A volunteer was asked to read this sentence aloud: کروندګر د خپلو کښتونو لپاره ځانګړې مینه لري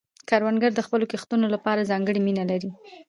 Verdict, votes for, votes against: accepted, 3, 0